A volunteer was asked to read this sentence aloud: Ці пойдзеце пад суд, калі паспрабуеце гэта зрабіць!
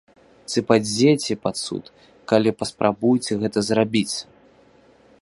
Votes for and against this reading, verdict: 1, 2, rejected